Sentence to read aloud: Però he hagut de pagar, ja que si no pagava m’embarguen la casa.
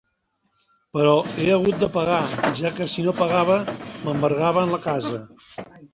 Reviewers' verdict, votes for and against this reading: rejected, 0, 2